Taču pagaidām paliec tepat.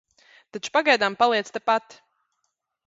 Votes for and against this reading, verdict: 2, 0, accepted